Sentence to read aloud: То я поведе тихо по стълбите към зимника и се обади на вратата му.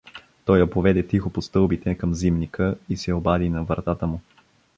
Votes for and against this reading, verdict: 0, 2, rejected